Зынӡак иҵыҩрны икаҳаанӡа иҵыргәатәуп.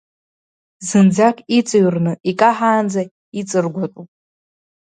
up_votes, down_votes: 2, 0